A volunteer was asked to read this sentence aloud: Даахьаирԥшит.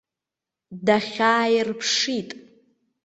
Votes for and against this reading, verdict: 0, 2, rejected